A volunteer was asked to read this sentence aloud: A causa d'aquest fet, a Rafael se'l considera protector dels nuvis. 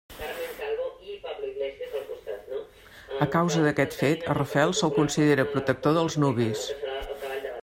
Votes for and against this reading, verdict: 1, 2, rejected